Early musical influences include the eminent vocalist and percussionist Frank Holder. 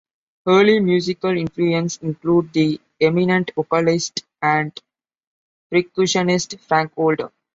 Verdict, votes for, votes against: rejected, 0, 2